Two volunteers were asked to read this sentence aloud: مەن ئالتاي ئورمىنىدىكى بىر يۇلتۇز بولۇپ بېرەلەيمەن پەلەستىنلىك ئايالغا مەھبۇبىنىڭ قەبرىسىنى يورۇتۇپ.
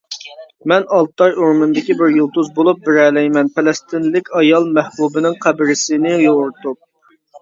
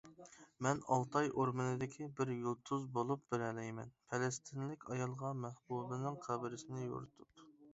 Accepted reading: second